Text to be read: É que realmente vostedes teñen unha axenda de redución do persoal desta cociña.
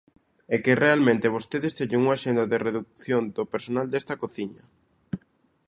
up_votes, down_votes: 0, 2